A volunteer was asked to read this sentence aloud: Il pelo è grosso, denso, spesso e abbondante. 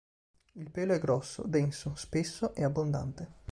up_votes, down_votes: 2, 0